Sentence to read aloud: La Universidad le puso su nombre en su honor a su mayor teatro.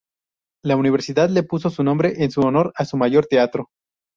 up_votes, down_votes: 2, 0